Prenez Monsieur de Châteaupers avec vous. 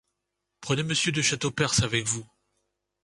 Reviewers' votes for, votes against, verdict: 2, 0, accepted